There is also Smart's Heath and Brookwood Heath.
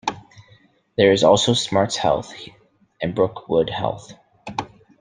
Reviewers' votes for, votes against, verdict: 0, 2, rejected